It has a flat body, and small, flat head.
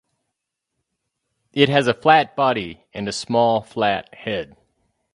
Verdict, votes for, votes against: rejected, 2, 2